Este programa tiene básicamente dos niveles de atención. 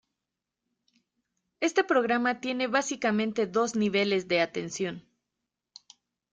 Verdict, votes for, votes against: accepted, 2, 1